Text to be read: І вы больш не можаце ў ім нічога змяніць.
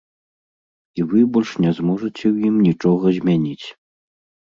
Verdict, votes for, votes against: rejected, 1, 2